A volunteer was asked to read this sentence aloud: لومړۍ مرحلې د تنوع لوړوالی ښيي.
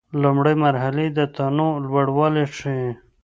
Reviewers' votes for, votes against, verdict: 2, 0, accepted